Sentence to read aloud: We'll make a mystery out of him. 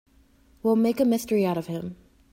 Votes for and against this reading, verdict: 2, 0, accepted